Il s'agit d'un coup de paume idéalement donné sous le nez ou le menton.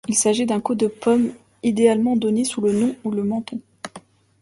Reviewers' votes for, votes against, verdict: 0, 2, rejected